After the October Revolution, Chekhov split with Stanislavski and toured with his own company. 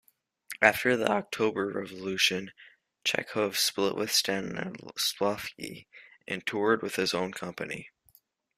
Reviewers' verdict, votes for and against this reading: rejected, 0, 2